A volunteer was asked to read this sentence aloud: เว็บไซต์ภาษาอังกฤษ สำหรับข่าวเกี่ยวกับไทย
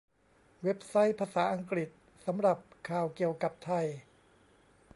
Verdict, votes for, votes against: accepted, 2, 0